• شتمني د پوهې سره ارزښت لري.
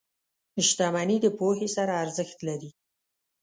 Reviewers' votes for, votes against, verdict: 2, 0, accepted